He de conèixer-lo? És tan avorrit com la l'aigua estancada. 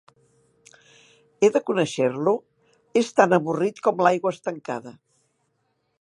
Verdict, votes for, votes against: accepted, 2, 0